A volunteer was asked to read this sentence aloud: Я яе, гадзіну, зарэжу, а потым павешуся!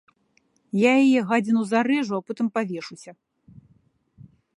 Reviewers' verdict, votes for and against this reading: accepted, 2, 0